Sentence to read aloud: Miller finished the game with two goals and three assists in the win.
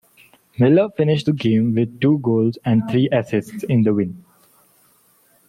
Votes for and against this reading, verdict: 2, 0, accepted